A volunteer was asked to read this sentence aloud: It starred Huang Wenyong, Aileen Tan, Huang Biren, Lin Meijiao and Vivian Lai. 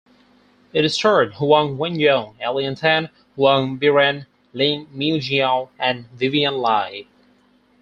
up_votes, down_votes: 0, 4